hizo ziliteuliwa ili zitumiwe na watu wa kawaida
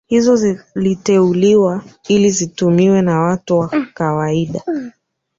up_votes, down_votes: 0, 3